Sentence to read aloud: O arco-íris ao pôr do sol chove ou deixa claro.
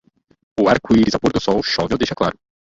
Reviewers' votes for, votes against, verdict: 2, 2, rejected